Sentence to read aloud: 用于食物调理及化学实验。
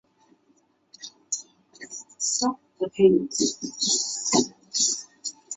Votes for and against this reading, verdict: 5, 4, accepted